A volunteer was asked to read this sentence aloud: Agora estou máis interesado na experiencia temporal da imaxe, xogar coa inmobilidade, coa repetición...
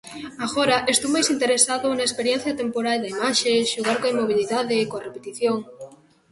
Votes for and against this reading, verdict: 2, 0, accepted